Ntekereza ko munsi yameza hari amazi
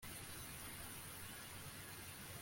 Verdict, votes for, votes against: rejected, 1, 2